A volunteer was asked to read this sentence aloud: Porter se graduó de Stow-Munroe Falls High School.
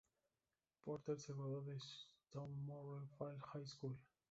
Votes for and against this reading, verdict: 0, 2, rejected